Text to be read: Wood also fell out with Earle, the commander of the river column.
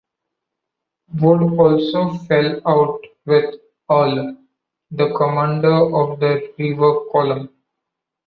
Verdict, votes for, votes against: accepted, 2, 1